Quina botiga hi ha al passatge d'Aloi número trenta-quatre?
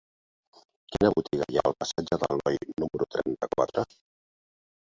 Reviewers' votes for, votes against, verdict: 0, 3, rejected